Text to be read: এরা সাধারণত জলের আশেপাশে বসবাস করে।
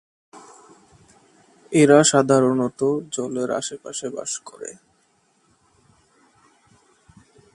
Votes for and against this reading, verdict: 10, 31, rejected